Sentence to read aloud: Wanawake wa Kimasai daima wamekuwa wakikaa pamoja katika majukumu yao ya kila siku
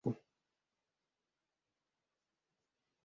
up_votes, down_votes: 0, 2